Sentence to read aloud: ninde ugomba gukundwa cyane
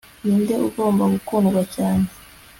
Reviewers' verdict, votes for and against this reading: accepted, 2, 0